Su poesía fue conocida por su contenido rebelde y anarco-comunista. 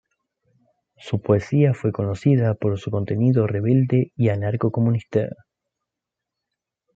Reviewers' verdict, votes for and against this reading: rejected, 1, 2